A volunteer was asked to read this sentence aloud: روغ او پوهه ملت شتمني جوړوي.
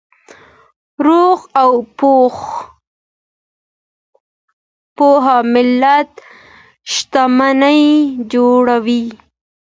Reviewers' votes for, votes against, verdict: 2, 1, accepted